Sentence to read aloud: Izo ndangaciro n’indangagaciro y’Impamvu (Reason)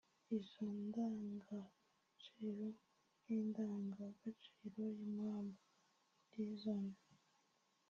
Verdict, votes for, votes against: rejected, 1, 2